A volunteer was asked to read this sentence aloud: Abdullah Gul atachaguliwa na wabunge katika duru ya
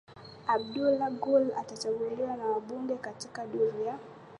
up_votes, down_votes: 2, 1